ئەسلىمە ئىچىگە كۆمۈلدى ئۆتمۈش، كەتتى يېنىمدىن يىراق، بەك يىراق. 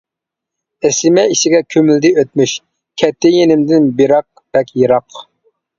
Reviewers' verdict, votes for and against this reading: rejected, 0, 2